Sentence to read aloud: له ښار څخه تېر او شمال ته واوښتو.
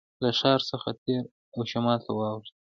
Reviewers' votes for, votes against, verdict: 1, 2, rejected